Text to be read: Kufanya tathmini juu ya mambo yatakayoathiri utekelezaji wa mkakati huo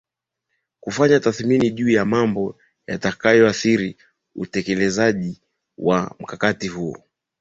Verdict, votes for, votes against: accepted, 2, 0